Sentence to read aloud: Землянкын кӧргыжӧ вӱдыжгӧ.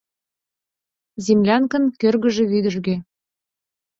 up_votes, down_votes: 2, 0